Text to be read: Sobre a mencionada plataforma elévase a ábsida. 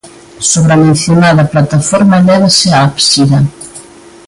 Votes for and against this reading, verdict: 2, 0, accepted